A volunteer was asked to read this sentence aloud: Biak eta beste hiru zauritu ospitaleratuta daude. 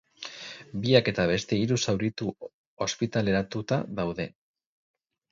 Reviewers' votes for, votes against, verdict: 4, 0, accepted